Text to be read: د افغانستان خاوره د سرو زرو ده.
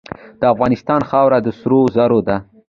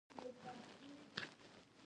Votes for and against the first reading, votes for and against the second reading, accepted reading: 2, 0, 1, 2, first